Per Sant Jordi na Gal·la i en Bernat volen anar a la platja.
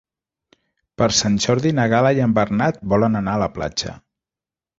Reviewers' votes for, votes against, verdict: 3, 0, accepted